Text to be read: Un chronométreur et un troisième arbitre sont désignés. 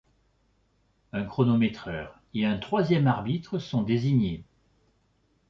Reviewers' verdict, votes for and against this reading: accepted, 2, 0